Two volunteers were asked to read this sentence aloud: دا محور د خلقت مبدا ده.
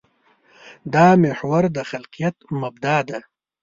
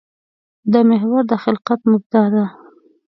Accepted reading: second